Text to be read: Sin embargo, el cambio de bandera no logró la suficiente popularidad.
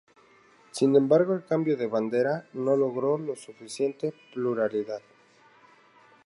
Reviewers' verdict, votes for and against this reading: rejected, 0, 2